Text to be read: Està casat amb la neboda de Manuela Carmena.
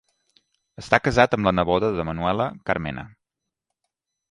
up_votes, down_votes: 1, 2